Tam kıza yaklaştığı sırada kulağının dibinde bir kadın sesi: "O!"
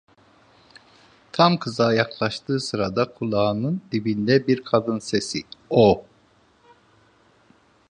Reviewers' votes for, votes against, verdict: 2, 0, accepted